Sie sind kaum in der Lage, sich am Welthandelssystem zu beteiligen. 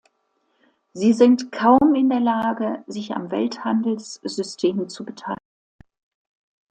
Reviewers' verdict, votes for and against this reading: rejected, 0, 2